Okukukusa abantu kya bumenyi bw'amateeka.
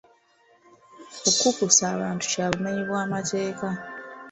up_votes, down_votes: 2, 0